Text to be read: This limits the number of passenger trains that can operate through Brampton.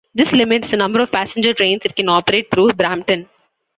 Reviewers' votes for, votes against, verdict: 2, 0, accepted